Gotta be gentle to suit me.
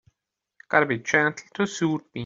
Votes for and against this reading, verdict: 2, 3, rejected